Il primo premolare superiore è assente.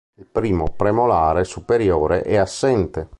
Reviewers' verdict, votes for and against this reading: accepted, 2, 0